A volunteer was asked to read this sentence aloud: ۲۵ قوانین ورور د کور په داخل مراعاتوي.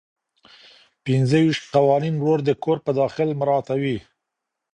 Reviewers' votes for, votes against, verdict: 0, 2, rejected